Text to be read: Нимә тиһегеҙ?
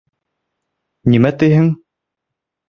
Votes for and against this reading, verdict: 0, 2, rejected